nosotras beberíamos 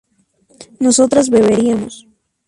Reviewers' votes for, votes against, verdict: 2, 0, accepted